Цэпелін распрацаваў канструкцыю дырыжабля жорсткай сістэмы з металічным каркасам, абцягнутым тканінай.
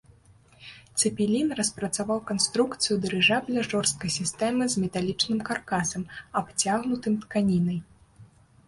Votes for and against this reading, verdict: 2, 0, accepted